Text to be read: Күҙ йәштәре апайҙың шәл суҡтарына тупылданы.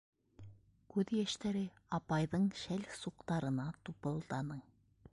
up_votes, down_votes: 1, 2